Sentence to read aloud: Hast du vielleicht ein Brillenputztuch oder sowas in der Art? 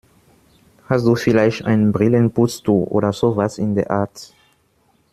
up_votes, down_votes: 1, 2